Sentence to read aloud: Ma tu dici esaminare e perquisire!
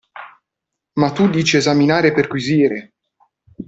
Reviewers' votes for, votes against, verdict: 2, 1, accepted